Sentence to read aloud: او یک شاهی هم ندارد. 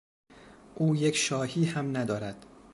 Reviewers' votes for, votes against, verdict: 2, 0, accepted